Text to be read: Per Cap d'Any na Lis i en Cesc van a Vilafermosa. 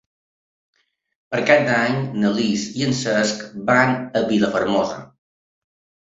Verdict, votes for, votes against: accepted, 3, 1